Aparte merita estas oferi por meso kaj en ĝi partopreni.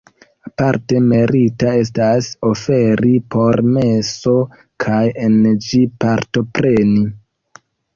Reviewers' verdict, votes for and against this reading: accepted, 2, 0